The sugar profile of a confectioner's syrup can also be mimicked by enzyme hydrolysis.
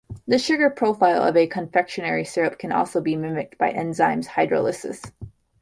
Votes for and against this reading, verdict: 1, 2, rejected